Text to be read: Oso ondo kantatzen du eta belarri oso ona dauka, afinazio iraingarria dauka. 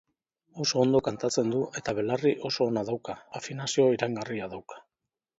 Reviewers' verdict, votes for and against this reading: rejected, 1, 2